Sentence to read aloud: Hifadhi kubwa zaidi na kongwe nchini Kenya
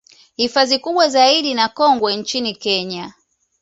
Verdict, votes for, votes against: accepted, 2, 0